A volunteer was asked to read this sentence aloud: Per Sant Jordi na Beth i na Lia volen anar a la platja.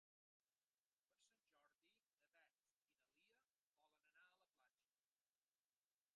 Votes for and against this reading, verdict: 1, 2, rejected